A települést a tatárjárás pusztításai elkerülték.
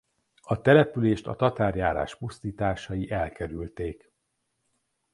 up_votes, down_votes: 2, 0